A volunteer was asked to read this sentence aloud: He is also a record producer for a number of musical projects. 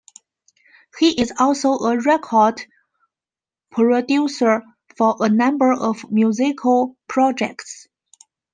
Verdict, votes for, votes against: rejected, 0, 2